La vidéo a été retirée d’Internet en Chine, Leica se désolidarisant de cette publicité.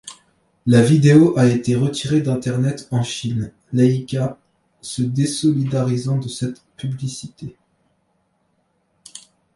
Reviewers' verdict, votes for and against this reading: accepted, 2, 0